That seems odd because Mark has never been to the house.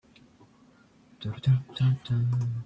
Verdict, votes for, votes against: rejected, 0, 2